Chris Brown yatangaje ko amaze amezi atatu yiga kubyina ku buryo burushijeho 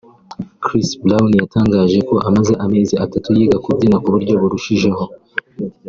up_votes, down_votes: 3, 0